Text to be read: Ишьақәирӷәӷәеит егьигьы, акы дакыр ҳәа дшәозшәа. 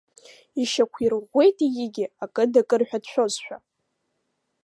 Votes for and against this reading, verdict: 2, 0, accepted